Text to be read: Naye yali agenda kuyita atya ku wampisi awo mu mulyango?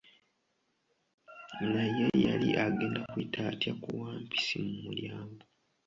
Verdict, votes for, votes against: rejected, 1, 2